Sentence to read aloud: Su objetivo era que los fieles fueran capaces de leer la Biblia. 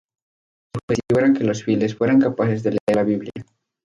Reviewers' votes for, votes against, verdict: 0, 2, rejected